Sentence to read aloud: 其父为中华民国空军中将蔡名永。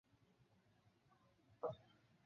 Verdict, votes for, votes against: rejected, 1, 2